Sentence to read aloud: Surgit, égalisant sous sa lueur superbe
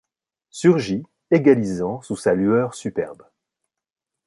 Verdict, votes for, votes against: accepted, 2, 0